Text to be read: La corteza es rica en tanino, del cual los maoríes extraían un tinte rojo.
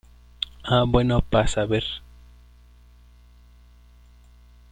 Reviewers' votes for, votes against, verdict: 0, 2, rejected